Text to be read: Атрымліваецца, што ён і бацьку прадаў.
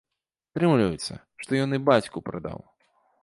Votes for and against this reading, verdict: 0, 2, rejected